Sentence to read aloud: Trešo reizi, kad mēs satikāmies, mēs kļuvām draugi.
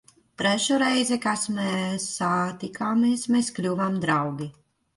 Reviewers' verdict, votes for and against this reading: rejected, 0, 2